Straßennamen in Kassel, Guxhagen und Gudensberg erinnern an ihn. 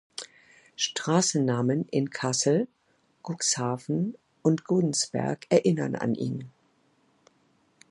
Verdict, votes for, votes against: rejected, 1, 2